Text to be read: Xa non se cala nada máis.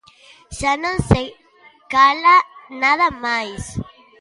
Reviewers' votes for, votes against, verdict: 1, 2, rejected